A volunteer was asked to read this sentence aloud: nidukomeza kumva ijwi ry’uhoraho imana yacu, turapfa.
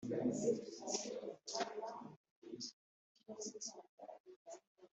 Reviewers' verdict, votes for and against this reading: rejected, 0, 3